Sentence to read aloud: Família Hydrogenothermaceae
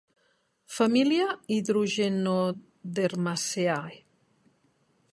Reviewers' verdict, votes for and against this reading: rejected, 0, 2